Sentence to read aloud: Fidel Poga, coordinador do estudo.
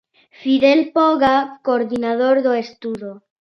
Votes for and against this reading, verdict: 2, 0, accepted